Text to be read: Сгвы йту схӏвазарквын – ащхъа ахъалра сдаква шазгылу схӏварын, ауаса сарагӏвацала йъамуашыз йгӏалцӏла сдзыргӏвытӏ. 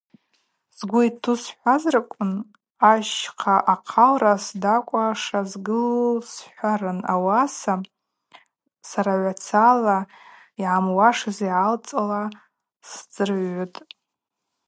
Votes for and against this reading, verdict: 2, 2, rejected